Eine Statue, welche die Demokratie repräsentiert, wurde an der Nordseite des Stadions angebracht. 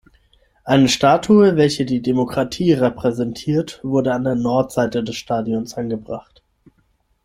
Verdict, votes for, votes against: rejected, 3, 6